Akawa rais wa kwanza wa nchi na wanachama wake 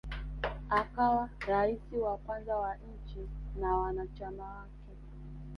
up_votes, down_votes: 2, 1